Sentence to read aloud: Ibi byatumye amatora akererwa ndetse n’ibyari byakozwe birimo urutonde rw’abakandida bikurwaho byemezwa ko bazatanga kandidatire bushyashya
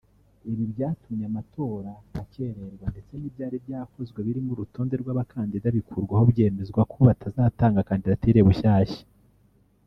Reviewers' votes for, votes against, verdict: 1, 2, rejected